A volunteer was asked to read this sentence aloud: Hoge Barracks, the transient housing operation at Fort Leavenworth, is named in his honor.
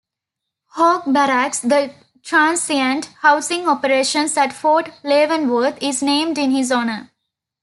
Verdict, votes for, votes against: rejected, 1, 2